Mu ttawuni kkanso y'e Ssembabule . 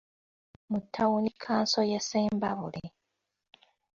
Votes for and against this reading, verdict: 2, 0, accepted